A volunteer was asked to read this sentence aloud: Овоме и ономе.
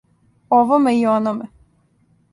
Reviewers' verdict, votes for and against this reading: accepted, 2, 0